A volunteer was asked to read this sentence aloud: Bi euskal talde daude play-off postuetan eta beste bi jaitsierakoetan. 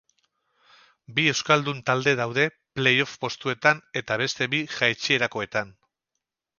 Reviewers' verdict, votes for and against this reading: rejected, 2, 2